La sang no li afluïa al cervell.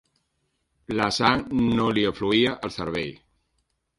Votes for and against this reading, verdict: 3, 0, accepted